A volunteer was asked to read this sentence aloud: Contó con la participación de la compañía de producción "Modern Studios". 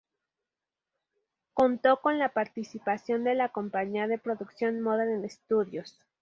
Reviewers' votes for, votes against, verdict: 0, 2, rejected